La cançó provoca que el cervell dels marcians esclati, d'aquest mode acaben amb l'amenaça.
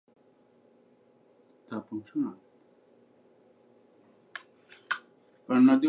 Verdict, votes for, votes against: rejected, 0, 2